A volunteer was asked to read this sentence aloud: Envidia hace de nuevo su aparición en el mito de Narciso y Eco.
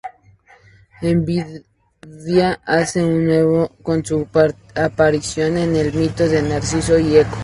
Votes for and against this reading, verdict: 2, 2, rejected